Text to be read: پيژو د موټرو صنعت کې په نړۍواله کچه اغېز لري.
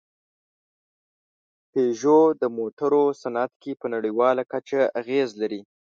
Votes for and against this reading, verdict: 2, 0, accepted